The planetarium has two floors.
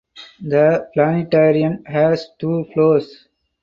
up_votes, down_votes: 4, 0